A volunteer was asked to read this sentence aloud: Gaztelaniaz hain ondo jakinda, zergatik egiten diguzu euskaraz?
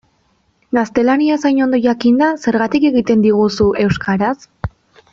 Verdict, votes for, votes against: accepted, 2, 0